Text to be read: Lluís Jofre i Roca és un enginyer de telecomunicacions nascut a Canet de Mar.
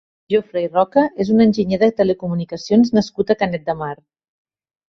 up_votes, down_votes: 1, 4